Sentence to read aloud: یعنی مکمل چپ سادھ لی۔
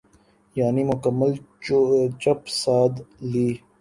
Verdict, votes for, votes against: rejected, 0, 2